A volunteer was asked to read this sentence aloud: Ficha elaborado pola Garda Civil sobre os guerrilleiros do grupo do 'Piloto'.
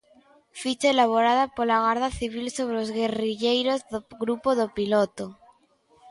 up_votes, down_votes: 1, 2